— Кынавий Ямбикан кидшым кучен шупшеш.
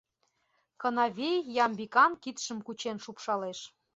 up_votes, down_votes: 1, 2